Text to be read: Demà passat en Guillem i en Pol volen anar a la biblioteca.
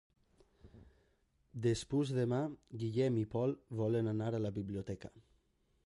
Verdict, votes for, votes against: rejected, 0, 2